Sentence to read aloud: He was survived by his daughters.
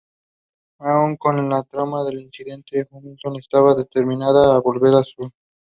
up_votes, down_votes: 0, 2